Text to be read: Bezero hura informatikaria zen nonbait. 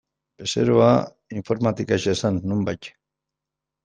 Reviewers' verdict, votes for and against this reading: rejected, 0, 2